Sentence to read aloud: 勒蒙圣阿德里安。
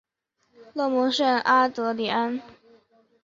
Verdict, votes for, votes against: accepted, 3, 0